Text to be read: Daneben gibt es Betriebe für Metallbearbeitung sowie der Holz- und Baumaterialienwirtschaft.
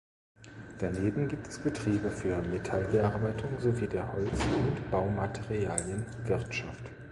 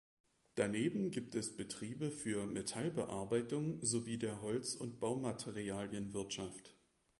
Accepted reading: second